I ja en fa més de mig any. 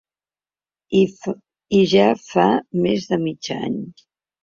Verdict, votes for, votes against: rejected, 0, 3